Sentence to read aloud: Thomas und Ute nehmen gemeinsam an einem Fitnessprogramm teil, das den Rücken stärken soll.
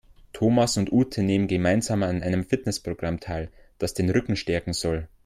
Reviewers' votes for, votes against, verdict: 2, 0, accepted